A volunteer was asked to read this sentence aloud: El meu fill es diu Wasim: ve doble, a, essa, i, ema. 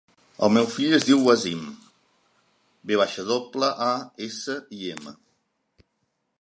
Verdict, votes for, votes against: rejected, 0, 2